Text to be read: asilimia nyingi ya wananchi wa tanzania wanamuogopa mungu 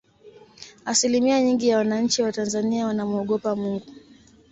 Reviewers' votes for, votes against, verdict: 2, 0, accepted